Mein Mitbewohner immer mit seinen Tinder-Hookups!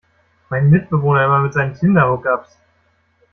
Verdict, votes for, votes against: rejected, 0, 2